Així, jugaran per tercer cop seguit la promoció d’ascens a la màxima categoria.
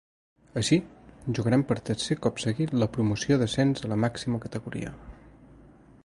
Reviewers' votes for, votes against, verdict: 1, 2, rejected